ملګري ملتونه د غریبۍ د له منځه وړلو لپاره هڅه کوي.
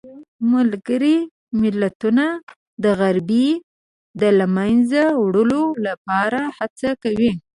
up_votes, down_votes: 1, 2